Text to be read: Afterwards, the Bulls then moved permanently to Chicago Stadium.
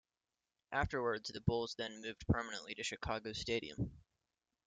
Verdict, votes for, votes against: rejected, 0, 2